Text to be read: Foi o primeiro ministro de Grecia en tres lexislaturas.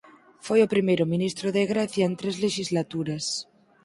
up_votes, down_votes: 4, 0